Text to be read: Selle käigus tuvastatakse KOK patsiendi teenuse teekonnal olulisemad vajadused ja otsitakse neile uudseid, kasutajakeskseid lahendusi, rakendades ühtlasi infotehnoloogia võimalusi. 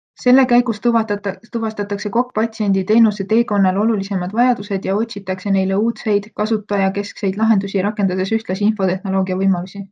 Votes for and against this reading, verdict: 2, 0, accepted